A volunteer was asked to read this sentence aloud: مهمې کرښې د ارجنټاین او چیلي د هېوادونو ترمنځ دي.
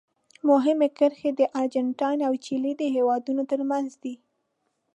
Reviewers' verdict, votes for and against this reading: accepted, 2, 0